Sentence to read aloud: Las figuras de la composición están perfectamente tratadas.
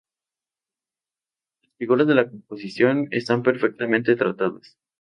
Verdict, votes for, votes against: rejected, 0, 2